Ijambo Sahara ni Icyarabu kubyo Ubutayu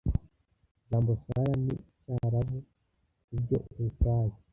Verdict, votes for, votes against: rejected, 0, 2